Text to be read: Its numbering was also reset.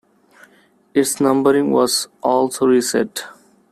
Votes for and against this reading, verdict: 2, 0, accepted